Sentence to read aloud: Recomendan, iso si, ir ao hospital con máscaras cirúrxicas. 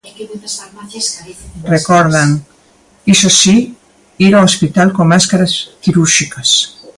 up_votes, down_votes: 0, 2